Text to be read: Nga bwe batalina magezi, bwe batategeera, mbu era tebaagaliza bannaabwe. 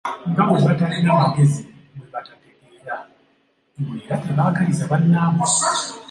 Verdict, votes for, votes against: accepted, 2, 1